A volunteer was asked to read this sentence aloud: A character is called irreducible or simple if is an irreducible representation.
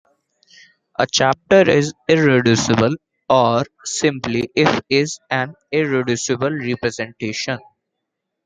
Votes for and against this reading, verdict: 0, 2, rejected